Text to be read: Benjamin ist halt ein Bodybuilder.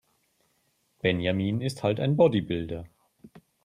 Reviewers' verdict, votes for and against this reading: accepted, 3, 0